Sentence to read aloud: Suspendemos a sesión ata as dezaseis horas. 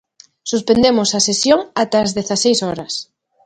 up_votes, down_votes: 2, 0